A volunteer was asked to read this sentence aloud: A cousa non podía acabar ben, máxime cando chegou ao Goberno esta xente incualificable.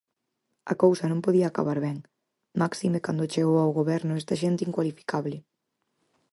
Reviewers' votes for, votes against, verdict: 4, 0, accepted